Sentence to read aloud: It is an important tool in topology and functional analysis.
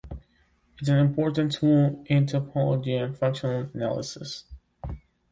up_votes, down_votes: 0, 2